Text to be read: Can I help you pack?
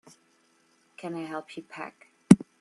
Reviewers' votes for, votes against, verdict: 2, 0, accepted